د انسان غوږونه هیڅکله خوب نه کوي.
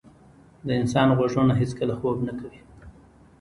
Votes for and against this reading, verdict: 2, 0, accepted